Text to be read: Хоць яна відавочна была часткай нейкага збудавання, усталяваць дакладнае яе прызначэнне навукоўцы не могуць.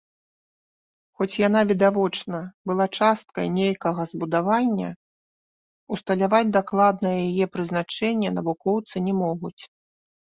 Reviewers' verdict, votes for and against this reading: rejected, 1, 2